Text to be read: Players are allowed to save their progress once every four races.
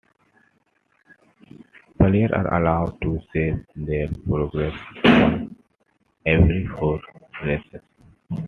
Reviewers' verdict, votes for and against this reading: accepted, 2, 0